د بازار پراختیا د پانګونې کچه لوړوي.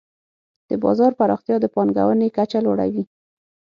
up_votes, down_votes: 6, 0